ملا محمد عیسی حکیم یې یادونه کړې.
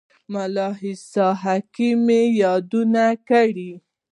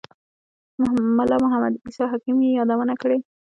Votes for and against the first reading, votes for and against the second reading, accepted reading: 0, 2, 2, 1, second